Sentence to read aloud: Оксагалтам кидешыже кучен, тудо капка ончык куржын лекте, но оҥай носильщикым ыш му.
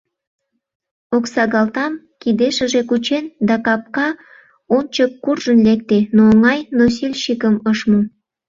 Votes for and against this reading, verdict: 0, 2, rejected